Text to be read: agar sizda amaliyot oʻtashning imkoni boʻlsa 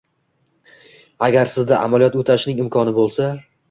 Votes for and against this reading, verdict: 1, 2, rejected